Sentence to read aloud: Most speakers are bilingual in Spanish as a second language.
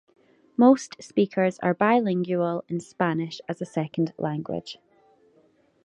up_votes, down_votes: 2, 0